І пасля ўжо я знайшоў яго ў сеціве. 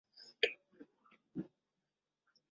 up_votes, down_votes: 0, 2